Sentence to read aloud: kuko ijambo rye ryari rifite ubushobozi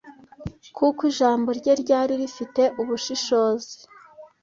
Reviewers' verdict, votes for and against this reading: rejected, 1, 2